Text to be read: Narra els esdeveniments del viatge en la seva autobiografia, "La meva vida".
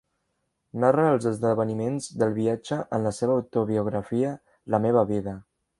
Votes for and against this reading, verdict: 3, 0, accepted